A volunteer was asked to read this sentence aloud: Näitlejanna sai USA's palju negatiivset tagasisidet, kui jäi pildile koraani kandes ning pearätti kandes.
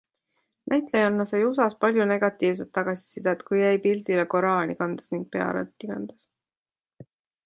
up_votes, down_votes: 2, 0